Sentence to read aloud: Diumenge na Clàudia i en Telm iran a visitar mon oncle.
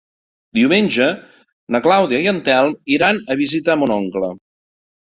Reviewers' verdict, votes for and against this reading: accepted, 2, 0